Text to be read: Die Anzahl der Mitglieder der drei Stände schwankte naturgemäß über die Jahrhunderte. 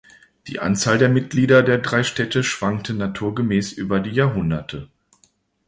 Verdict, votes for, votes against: rejected, 0, 2